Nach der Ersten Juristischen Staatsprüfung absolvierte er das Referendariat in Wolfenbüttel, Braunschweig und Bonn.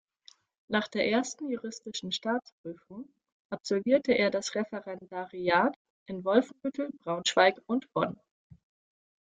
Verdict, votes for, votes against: accepted, 2, 0